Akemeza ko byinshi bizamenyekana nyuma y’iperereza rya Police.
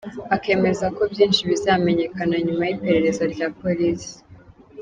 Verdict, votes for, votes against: accepted, 2, 0